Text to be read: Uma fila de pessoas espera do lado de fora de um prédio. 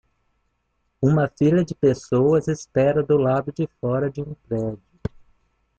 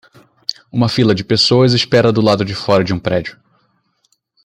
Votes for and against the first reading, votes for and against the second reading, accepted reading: 1, 2, 2, 0, second